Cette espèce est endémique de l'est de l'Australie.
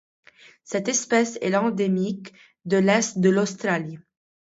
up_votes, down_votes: 0, 2